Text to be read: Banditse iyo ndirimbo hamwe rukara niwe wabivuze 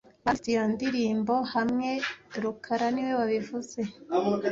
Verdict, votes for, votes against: rejected, 1, 2